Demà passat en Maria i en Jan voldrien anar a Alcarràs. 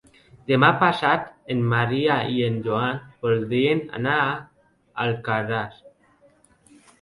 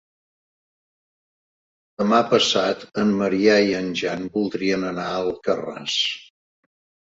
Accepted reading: second